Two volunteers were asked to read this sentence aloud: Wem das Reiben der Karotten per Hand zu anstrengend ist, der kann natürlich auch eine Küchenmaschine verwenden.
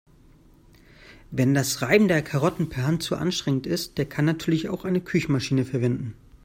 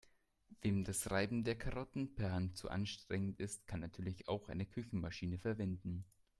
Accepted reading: first